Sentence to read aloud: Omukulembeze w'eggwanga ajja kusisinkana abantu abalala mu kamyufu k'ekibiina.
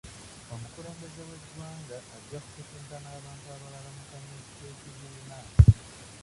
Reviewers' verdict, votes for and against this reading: rejected, 0, 2